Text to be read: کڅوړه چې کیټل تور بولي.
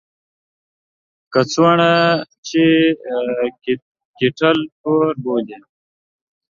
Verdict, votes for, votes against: rejected, 1, 2